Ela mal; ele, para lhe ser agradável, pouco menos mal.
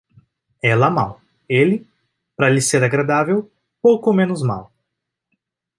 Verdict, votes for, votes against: accepted, 2, 0